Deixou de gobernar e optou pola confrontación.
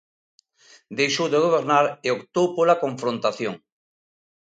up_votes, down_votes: 2, 0